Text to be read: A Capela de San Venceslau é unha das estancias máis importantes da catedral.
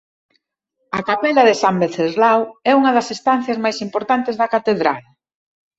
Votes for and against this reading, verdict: 2, 0, accepted